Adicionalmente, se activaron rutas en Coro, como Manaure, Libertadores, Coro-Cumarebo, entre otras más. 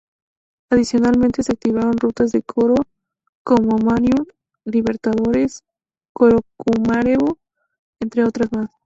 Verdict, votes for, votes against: rejected, 2, 2